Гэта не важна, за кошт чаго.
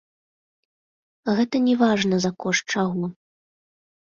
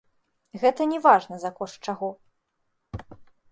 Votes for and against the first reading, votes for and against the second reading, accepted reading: 2, 0, 1, 2, first